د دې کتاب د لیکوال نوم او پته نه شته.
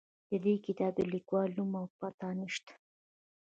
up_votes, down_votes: 1, 2